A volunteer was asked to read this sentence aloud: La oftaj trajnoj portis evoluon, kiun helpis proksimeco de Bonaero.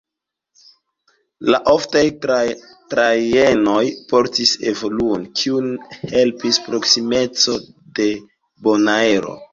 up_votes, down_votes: 0, 2